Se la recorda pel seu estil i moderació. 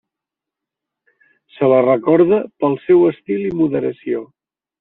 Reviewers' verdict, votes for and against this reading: accepted, 3, 0